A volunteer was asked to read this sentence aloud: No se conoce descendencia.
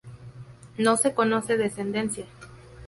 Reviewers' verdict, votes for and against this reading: accepted, 2, 0